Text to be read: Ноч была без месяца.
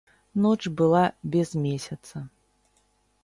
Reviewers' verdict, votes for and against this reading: rejected, 0, 2